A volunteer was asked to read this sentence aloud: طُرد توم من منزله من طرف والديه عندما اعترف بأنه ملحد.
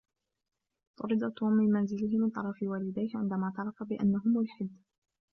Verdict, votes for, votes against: accepted, 2, 0